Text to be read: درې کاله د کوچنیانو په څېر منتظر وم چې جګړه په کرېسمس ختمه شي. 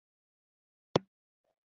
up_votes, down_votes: 0, 2